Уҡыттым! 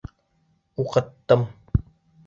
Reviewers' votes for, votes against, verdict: 2, 0, accepted